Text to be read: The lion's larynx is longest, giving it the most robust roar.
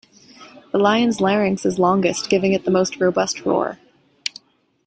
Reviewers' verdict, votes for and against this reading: accepted, 2, 0